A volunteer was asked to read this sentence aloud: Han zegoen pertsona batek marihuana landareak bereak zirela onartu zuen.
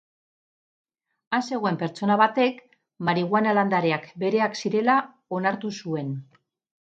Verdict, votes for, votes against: accepted, 4, 0